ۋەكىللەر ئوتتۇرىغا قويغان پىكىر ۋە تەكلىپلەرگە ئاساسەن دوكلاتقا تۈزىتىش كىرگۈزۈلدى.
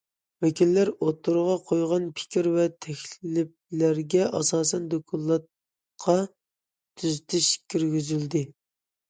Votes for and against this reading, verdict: 0, 2, rejected